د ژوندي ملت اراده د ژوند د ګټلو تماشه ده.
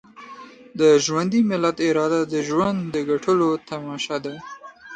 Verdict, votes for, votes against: accepted, 3, 0